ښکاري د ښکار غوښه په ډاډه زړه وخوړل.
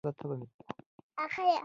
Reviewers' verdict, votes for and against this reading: rejected, 1, 2